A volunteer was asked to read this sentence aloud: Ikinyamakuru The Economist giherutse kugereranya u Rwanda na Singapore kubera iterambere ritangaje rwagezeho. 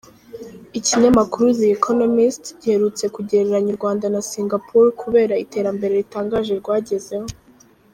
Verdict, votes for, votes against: accepted, 3, 0